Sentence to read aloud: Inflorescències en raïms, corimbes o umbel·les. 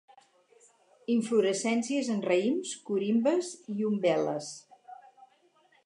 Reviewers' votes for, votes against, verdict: 0, 4, rejected